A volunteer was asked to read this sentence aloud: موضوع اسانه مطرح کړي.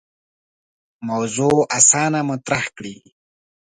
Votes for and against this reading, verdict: 2, 0, accepted